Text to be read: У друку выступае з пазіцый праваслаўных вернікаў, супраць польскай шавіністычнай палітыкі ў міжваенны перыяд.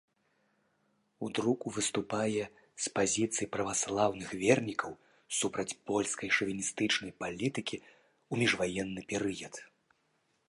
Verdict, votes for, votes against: accepted, 2, 0